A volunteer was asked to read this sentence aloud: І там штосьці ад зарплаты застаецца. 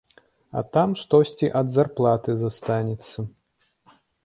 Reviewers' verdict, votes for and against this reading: rejected, 0, 2